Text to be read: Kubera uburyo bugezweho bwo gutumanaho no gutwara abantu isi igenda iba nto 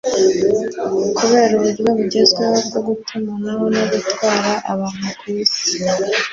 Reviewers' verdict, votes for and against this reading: rejected, 1, 2